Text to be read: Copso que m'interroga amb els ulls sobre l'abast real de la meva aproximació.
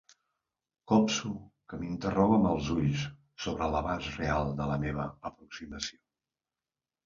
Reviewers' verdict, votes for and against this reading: accepted, 2, 0